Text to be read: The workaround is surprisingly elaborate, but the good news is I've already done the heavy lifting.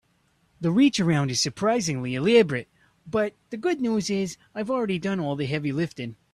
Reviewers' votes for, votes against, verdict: 0, 3, rejected